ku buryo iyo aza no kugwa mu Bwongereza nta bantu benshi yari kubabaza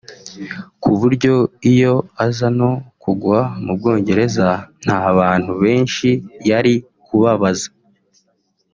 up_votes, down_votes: 2, 0